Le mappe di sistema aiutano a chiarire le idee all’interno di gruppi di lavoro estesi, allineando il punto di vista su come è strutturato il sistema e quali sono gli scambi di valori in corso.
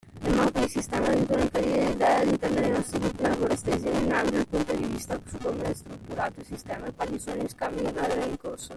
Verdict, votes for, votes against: rejected, 0, 2